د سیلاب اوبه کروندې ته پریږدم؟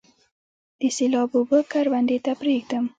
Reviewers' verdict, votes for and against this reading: accepted, 3, 0